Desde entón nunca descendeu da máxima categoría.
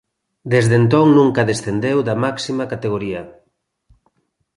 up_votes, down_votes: 2, 0